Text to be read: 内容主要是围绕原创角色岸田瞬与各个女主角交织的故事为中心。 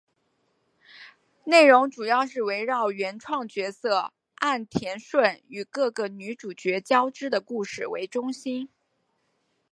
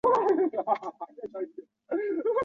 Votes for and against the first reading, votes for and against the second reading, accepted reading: 2, 0, 2, 6, first